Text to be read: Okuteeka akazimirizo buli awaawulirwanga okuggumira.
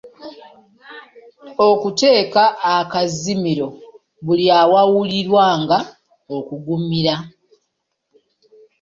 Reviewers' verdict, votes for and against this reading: rejected, 0, 2